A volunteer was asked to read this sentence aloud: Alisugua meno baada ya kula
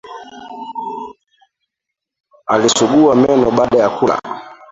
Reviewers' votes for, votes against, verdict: 0, 2, rejected